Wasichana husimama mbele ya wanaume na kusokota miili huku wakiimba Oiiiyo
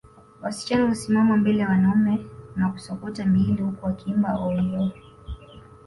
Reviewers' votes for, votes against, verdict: 2, 1, accepted